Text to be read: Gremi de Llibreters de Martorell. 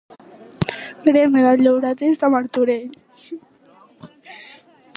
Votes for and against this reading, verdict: 1, 2, rejected